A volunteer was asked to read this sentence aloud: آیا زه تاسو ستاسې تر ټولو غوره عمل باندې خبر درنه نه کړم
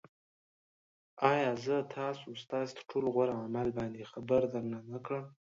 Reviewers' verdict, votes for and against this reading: rejected, 1, 2